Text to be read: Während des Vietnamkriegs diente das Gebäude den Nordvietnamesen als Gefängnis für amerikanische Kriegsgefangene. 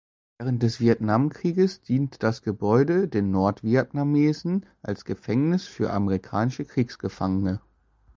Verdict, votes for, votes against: rejected, 1, 2